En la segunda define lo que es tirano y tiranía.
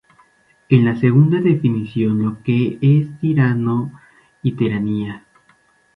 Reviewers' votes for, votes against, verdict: 2, 0, accepted